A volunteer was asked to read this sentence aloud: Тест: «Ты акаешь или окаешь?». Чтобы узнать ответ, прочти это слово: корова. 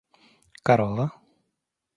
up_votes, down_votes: 0, 2